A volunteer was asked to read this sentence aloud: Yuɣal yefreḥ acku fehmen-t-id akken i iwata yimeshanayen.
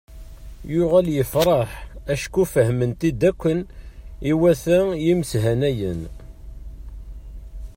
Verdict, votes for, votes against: rejected, 1, 2